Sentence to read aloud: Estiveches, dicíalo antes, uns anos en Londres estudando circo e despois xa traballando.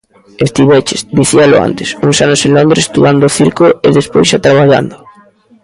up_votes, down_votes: 2, 0